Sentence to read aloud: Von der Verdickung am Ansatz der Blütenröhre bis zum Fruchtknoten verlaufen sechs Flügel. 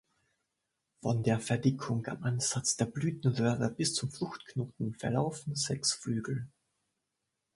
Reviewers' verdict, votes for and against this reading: accepted, 2, 0